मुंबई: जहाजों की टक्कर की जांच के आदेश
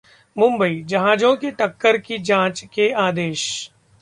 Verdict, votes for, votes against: accepted, 2, 0